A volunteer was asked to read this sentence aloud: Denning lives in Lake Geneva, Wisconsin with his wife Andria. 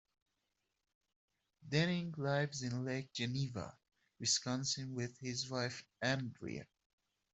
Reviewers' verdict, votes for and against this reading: rejected, 0, 2